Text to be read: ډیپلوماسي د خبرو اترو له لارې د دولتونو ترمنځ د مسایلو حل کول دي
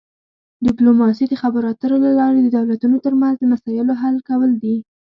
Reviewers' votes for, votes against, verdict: 2, 0, accepted